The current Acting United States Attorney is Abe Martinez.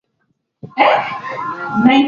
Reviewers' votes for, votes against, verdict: 0, 2, rejected